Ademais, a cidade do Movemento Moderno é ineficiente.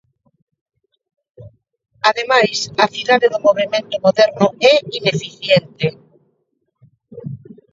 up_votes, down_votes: 2, 0